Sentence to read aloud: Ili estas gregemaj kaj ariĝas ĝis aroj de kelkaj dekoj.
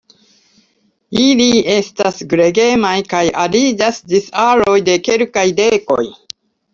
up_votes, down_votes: 2, 0